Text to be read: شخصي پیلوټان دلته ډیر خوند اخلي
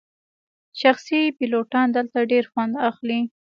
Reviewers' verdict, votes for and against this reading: accepted, 2, 0